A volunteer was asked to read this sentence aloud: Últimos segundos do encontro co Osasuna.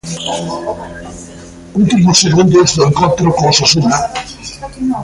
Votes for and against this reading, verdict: 2, 0, accepted